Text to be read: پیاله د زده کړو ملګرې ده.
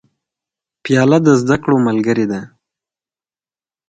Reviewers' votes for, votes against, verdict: 4, 0, accepted